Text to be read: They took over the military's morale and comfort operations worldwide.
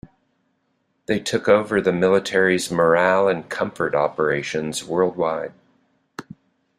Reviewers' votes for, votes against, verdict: 2, 0, accepted